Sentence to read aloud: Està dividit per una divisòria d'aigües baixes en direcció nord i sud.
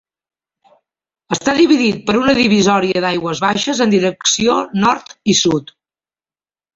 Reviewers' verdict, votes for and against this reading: accepted, 3, 0